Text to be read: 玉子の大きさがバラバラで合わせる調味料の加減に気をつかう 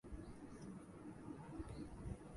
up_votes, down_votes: 1, 2